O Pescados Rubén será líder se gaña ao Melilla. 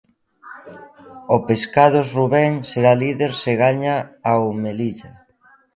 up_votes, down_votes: 1, 2